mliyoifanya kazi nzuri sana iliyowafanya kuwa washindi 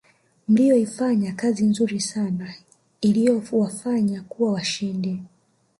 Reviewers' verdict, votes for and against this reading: accepted, 2, 1